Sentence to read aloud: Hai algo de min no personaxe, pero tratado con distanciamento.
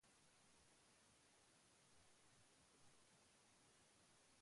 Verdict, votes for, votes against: rejected, 0, 2